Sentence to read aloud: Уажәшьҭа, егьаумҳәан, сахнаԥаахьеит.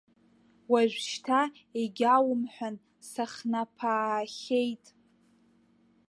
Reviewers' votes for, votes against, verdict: 0, 2, rejected